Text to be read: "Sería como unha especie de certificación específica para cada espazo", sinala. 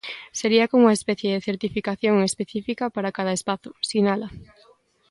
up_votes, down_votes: 2, 1